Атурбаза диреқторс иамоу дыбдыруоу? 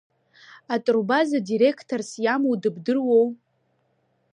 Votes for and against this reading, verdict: 2, 0, accepted